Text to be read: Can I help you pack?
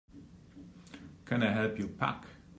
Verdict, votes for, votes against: accepted, 2, 0